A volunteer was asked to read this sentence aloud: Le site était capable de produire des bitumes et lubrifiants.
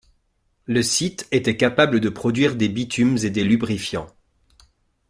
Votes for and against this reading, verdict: 0, 2, rejected